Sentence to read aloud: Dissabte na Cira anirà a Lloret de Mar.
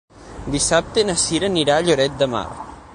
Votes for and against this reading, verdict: 9, 0, accepted